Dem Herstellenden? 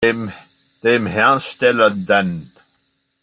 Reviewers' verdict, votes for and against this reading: rejected, 0, 2